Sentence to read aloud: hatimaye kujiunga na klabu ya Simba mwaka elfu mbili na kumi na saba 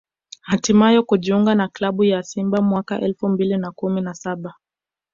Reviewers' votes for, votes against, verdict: 2, 0, accepted